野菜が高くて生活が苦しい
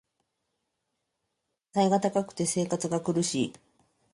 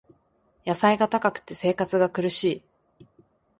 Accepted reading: second